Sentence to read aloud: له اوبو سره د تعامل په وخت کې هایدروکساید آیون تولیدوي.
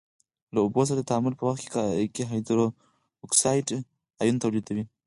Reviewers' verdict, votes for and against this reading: rejected, 2, 4